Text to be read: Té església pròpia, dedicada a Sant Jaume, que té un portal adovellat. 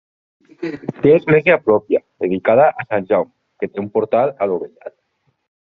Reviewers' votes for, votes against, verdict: 0, 2, rejected